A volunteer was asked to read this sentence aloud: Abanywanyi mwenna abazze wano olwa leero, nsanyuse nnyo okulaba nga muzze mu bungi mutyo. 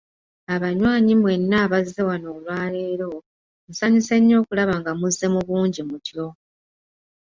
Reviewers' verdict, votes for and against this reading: accepted, 2, 1